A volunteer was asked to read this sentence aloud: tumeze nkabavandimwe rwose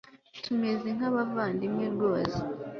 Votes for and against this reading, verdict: 2, 0, accepted